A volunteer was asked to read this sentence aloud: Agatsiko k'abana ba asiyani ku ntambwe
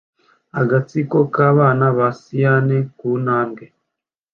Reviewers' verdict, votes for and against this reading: accepted, 2, 0